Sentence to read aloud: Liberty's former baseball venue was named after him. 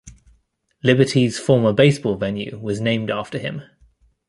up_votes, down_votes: 2, 0